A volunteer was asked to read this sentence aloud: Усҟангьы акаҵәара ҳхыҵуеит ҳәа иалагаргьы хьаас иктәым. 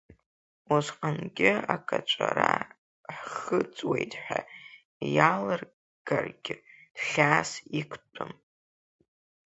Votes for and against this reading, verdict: 0, 2, rejected